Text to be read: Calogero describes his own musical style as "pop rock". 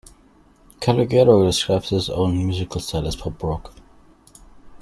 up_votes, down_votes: 2, 0